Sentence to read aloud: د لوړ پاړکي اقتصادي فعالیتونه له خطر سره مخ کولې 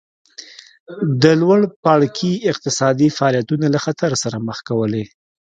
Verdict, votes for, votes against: accepted, 2, 0